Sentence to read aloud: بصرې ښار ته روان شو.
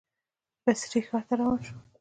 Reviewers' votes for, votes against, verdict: 2, 0, accepted